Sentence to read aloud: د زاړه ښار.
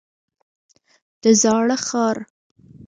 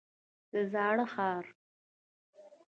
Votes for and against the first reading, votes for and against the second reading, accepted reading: 1, 2, 2, 0, second